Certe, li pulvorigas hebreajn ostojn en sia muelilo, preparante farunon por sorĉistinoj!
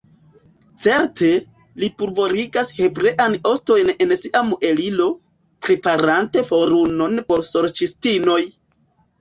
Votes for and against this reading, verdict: 1, 2, rejected